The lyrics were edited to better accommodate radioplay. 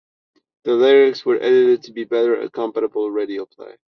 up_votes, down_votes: 0, 2